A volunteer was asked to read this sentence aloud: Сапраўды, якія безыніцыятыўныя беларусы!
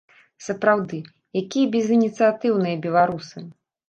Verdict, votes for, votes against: accepted, 2, 0